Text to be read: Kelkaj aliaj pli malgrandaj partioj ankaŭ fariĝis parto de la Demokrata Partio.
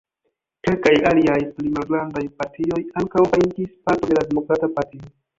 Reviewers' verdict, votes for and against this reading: rejected, 1, 3